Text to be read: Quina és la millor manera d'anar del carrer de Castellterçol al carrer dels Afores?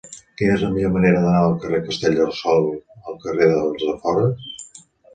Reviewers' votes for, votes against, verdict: 0, 2, rejected